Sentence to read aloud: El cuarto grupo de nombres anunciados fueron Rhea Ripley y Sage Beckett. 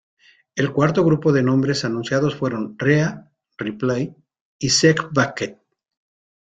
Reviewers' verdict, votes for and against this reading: rejected, 1, 2